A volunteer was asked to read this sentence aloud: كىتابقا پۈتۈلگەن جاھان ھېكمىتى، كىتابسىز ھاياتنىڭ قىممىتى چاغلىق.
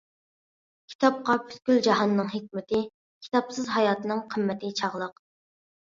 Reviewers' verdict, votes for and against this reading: rejected, 0, 2